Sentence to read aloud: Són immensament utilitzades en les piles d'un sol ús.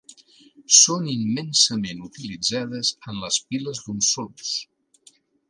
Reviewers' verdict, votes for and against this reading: accepted, 2, 0